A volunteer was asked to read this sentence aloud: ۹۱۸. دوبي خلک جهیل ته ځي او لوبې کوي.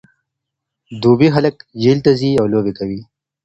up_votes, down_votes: 0, 2